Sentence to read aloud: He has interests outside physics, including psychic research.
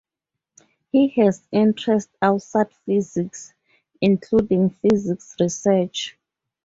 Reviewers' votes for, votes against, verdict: 2, 2, rejected